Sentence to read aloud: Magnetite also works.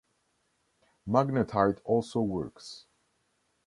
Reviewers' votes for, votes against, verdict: 2, 0, accepted